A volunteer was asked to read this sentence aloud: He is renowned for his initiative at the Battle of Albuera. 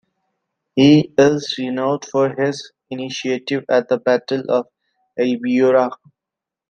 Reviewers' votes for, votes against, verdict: 2, 1, accepted